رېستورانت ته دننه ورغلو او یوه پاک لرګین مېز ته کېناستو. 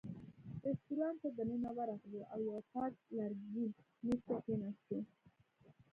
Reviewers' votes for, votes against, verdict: 0, 2, rejected